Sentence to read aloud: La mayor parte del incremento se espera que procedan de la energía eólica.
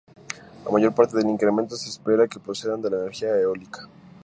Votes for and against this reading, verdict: 2, 0, accepted